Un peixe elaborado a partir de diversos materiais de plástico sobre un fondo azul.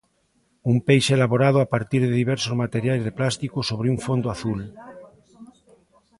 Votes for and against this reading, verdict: 2, 0, accepted